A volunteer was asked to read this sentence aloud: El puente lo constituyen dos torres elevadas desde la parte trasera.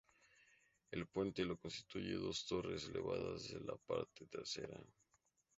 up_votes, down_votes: 2, 2